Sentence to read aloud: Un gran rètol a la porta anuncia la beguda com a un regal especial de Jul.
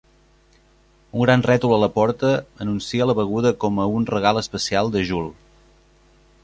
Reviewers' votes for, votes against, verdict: 2, 0, accepted